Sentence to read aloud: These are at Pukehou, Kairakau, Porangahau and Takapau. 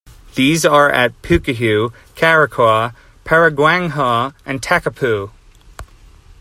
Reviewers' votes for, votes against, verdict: 2, 0, accepted